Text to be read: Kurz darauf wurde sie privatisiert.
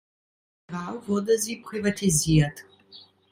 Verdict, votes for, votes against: rejected, 0, 2